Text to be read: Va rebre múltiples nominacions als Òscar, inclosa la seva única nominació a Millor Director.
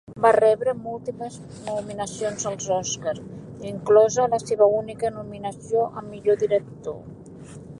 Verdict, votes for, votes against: rejected, 0, 2